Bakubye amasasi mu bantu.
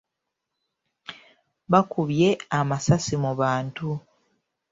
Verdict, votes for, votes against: accepted, 2, 0